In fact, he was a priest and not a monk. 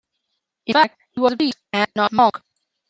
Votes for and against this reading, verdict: 1, 2, rejected